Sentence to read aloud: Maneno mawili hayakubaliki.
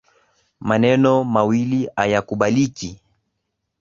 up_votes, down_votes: 3, 1